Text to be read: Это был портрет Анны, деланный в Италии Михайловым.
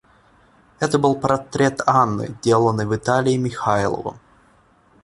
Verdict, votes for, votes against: rejected, 0, 2